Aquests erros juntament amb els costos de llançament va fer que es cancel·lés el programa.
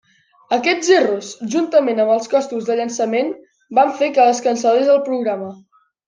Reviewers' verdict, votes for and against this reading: rejected, 1, 2